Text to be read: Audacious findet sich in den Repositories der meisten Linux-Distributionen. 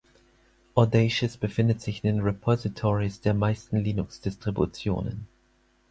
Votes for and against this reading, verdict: 2, 4, rejected